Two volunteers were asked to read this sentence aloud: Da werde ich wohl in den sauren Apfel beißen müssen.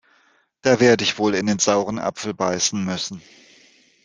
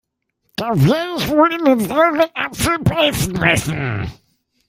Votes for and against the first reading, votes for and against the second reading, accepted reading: 2, 0, 1, 2, first